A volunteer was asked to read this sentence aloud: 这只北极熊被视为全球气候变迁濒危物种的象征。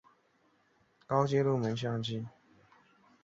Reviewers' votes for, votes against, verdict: 0, 2, rejected